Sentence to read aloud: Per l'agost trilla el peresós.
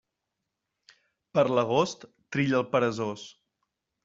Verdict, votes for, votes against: accepted, 3, 0